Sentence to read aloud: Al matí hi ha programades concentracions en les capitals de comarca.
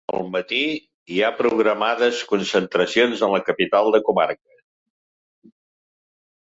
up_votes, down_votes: 0, 2